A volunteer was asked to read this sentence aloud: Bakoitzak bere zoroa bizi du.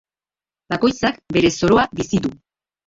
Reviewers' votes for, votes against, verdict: 1, 2, rejected